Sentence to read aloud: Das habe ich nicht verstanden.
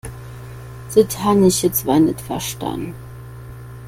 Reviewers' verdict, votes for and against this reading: rejected, 1, 2